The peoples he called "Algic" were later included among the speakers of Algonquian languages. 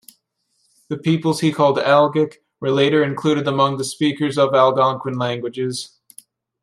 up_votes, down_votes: 2, 0